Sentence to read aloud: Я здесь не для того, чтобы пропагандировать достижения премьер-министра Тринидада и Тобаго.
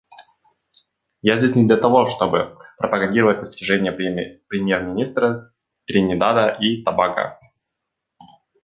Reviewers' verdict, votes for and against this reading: rejected, 0, 2